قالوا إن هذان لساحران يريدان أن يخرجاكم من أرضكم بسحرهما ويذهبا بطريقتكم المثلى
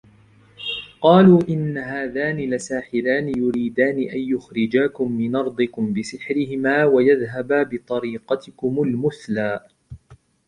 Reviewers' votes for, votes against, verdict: 2, 0, accepted